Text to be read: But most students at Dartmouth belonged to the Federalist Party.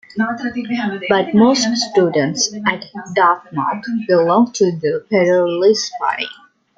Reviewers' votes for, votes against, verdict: 0, 2, rejected